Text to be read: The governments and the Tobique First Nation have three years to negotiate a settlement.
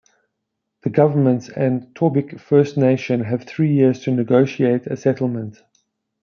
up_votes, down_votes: 0, 2